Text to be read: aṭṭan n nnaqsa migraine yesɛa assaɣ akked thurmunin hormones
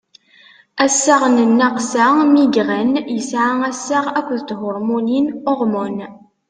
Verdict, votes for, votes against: rejected, 0, 2